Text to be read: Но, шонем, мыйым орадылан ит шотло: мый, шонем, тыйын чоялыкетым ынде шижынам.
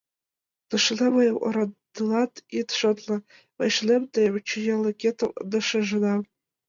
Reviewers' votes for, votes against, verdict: 0, 2, rejected